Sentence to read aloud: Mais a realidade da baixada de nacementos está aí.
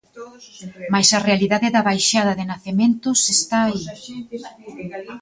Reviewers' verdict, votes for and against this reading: rejected, 1, 2